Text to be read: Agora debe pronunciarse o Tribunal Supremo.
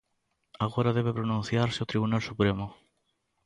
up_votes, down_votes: 2, 0